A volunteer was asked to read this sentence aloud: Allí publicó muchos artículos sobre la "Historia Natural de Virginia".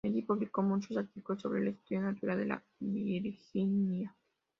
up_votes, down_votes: 0, 2